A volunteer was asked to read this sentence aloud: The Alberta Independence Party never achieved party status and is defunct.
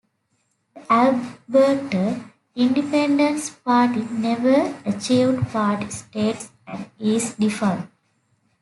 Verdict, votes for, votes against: rejected, 0, 3